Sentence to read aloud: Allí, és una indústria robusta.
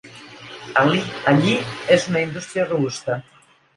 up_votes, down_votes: 0, 2